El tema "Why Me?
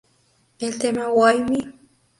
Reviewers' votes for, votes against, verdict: 2, 0, accepted